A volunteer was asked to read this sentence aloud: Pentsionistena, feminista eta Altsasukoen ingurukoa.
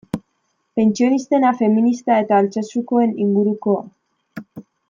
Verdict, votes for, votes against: accepted, 2, 0